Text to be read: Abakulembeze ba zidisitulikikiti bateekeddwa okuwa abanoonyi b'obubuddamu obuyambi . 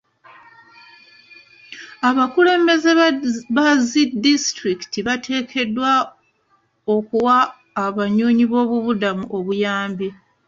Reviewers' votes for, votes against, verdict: 1, 2, rejected